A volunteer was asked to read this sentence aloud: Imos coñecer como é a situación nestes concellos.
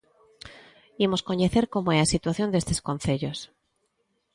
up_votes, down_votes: 0, 2